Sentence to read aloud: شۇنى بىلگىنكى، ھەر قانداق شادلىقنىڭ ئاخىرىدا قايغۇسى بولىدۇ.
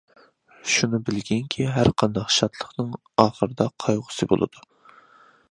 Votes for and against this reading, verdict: 2, 0, accepted